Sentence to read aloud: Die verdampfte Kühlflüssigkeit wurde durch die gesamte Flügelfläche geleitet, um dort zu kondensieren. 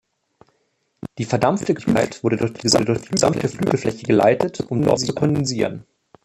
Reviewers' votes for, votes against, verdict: 0, 3, rejected